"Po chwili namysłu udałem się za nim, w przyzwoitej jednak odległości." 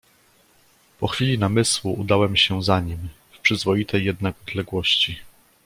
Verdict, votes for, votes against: accepted, 2, 0